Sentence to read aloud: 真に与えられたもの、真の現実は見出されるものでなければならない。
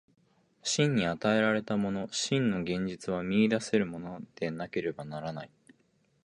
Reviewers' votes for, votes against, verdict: 3, 5, rejected